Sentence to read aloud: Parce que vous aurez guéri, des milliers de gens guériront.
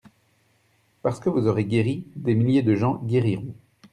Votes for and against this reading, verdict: 2, 0, accepted